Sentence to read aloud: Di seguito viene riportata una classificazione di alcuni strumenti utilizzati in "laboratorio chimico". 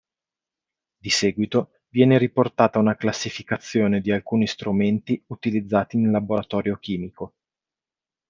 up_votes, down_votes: 2, 0